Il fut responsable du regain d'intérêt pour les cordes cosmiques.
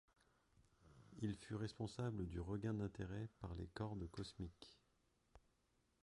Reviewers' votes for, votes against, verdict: 2, 1, accepted